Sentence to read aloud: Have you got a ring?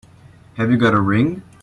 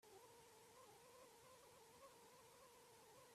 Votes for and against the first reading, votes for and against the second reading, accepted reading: 2, 0, 0, 2, first